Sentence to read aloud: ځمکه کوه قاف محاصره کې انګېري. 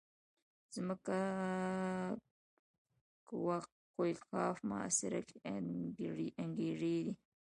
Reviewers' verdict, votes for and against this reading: accepted, 2, 0